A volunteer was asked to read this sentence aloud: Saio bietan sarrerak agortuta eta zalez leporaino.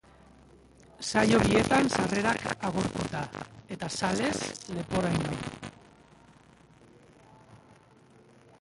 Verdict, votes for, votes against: rejected, 0, 3